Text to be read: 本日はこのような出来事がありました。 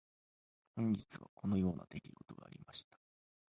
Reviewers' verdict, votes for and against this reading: rejected, 0, 2